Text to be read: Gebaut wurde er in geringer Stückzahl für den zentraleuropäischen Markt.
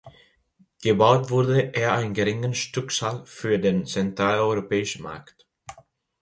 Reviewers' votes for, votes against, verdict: 0, 2, rejected